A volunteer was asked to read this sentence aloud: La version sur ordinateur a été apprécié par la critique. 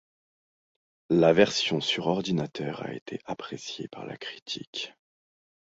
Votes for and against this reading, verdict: 2, 0, accepted